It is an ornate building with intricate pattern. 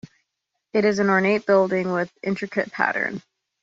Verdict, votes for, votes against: accepted, 2, 0